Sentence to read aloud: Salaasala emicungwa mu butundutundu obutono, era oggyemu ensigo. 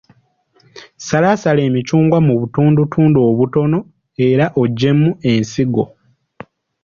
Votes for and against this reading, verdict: 2, 0, accepted